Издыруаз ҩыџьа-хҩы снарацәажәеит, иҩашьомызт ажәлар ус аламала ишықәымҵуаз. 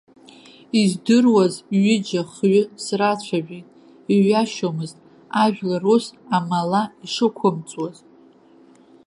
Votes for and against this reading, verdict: 0, 2, rejected